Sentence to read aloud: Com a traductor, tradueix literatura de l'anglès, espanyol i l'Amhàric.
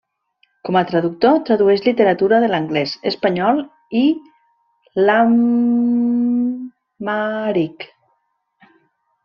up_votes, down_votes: 0, 2